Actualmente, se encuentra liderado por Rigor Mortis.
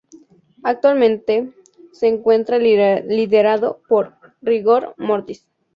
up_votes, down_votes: 2, 2